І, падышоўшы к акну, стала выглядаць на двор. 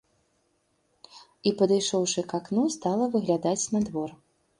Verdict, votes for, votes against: accepted, 3, 0